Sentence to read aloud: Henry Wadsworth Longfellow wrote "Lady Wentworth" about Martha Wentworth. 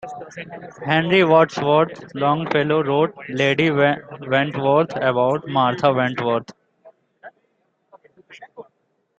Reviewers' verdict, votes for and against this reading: accepted, 2, 1